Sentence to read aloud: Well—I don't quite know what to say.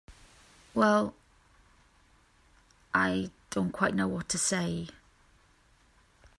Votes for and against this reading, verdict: 2, 0, accepted